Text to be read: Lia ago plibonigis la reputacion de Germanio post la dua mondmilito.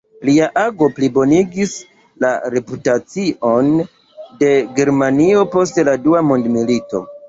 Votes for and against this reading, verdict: 1, 2, rejected